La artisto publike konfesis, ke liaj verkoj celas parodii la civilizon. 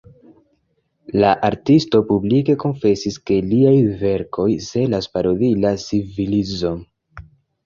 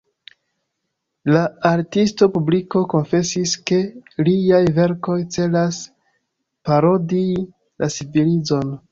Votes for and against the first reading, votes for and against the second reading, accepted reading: 2, 0, 0, 2, first